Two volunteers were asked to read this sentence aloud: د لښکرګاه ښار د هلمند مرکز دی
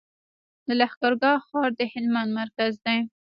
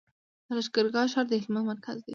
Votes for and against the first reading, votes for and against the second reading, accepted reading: 1, 2, 2, 0, second